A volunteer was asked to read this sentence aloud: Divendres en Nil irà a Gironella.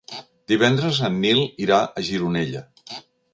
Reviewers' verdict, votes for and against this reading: accepted, 4, 0